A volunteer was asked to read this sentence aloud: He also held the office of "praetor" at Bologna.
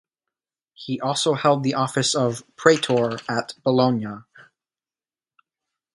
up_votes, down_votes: 3, 1